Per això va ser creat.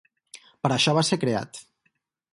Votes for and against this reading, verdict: 4, 0, accepted